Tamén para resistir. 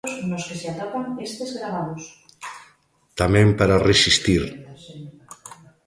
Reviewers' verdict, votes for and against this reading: rejected, 0, 2